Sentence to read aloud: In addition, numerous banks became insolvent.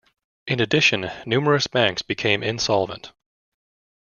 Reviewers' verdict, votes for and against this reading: accepted, 2, 1